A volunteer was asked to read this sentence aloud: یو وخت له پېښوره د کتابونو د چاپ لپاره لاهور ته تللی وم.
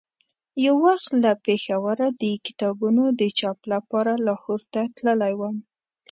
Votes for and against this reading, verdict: 2, 0, accepted